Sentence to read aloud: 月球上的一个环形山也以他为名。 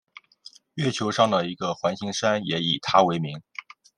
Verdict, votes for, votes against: accepted, 2, 0